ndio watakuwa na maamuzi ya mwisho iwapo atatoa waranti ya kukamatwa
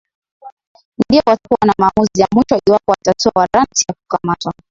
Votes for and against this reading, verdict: 3, 10, rejected